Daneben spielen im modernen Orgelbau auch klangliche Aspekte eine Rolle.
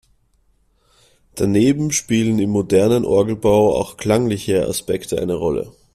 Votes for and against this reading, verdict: 2, 0, accepted